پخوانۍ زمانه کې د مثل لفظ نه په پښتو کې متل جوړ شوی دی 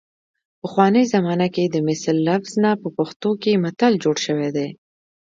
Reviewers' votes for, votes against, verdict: 2, 0, accepted